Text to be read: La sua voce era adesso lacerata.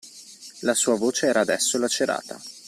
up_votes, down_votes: 2, 0